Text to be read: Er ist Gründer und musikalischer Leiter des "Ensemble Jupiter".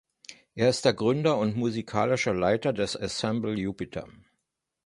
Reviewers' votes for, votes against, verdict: 1, 2, rejected